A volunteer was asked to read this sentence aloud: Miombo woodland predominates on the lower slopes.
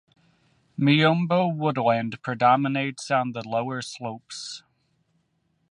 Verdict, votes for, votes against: accepted, 2, 1